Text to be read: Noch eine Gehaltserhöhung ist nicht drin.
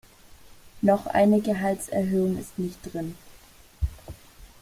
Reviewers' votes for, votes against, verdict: 2, 0, accepted